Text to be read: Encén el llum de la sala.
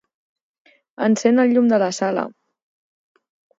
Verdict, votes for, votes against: accepted, 6, 2